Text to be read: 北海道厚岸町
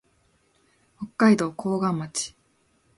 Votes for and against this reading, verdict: 2, 0, accepted